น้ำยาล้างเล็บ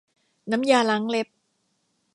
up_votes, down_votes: 2, 0